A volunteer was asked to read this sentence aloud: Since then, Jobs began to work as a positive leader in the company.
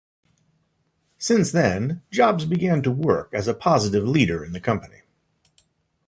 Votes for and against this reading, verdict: 2, 0, accepted